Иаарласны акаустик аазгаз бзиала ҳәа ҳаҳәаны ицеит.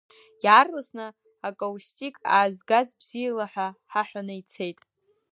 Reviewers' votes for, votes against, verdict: 2, 0, accepted